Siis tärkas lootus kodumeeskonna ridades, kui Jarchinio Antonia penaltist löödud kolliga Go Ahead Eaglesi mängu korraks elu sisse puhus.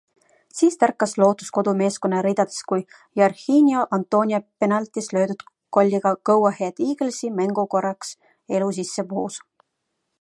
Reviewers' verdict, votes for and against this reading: rejected, 1, 2